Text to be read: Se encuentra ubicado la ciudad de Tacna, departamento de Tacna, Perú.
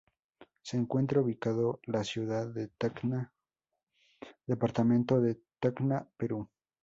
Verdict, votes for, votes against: accepted, 2, 0